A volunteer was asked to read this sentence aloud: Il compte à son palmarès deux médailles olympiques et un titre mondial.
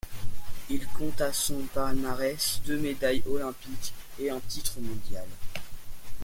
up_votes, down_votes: 0, 2